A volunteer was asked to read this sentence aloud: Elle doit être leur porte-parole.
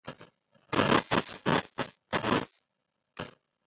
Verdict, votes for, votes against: rejected, 0, 2